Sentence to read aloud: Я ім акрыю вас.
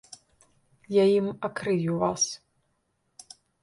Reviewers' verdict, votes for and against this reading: accepted, 2, 0